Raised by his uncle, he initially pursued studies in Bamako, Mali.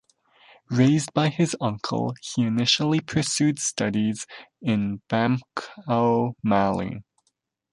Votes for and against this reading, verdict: 0, 2, rejected